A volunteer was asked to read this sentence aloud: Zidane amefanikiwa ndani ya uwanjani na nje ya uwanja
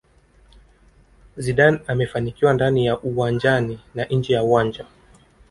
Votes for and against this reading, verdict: 2, 0, accepted